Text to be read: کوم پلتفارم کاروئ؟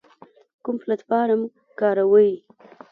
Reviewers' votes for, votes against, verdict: 2, 0, accepted